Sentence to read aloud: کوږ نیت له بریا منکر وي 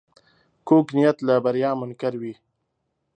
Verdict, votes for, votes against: accepted, 4, 0